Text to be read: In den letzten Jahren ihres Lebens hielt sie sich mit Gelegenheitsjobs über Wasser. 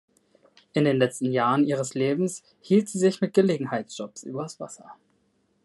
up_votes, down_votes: 1, 2